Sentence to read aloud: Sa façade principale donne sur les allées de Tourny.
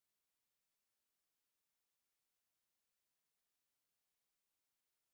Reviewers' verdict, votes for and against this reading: rejected, 0, 2